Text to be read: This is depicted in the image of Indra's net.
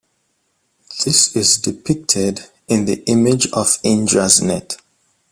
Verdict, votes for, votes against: accepted, 2, 0